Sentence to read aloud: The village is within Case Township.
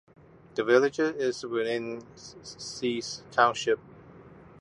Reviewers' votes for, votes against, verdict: 0, 2, rejected